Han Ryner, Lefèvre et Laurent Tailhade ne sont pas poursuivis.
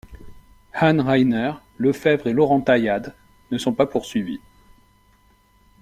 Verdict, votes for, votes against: accepted, 2, 0